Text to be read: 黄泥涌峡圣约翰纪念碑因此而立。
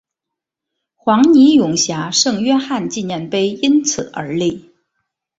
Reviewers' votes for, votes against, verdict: 4, 0, accepted